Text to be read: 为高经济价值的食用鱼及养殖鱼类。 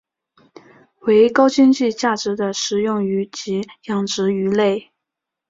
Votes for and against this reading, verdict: 2, 0, accepted